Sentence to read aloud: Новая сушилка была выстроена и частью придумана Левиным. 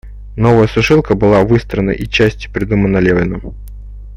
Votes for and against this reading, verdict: 2, 0, accepted